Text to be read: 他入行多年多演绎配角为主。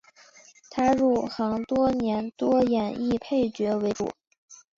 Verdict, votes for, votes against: accepted, 3, 0